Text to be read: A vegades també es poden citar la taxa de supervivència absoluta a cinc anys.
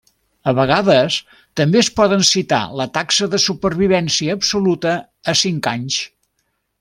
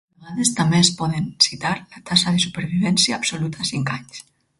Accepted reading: first